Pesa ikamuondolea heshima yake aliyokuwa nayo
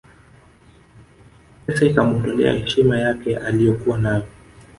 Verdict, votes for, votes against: rejected, 0, 2